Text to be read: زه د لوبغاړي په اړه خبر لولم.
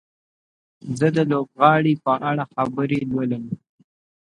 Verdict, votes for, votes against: accepted, 2, 0